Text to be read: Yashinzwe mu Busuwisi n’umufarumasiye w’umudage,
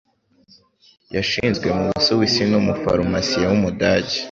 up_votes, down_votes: 1, 2